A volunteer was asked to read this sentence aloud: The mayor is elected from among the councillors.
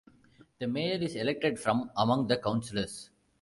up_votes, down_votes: 2, 1